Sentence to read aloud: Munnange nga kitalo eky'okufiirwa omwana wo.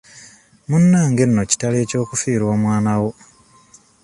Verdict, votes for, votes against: rejected, 1, 2